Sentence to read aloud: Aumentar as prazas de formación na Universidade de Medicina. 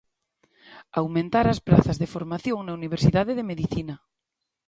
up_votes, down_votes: 2, 1